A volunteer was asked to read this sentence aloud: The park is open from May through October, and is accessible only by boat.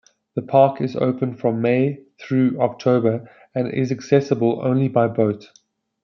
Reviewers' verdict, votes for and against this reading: accepted, 2, 0